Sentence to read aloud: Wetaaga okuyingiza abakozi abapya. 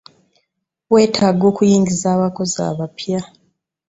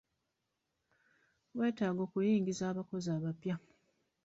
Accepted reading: first